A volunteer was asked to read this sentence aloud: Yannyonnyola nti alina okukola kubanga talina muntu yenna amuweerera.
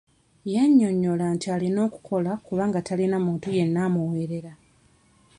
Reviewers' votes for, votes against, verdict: 2, 0, accepted